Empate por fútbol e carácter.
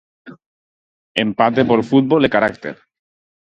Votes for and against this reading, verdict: 4, 0, accepted